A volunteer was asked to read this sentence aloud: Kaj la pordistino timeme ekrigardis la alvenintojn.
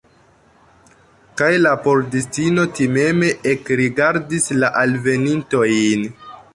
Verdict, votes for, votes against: accepted, 2, 0